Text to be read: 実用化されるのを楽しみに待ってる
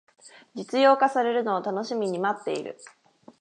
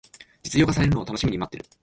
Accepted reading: first